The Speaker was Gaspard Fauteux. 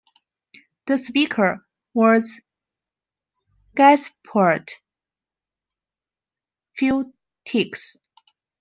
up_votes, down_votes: 0, 2